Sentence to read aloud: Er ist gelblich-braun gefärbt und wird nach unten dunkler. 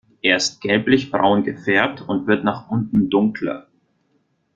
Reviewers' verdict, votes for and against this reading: accepted, 3, 0